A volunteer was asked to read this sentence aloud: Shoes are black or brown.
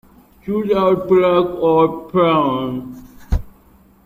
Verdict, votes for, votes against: rejected, 0, 2